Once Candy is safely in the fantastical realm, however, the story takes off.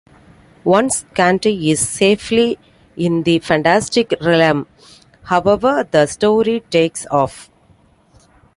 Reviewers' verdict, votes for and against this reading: accepted, 2, 1